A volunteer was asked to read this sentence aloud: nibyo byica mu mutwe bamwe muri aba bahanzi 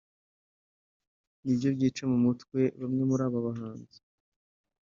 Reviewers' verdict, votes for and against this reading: accepted, 2, 1